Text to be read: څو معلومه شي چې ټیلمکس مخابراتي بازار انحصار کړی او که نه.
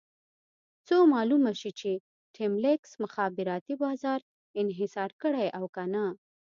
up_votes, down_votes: 1, 2